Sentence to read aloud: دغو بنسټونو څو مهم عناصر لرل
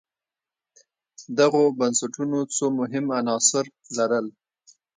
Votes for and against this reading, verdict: 2, 1, accepted